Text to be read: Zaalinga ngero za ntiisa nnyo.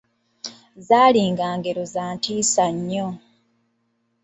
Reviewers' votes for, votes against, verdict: 2, 1, accepted